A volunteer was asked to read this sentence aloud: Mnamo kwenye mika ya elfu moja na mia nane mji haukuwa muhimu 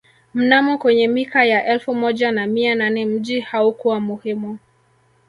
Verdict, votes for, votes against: rejected, 1, 2